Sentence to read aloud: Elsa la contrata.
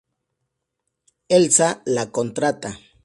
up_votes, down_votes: 2, 0